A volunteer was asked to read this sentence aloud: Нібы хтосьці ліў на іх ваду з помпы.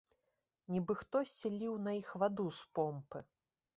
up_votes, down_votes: 2, 0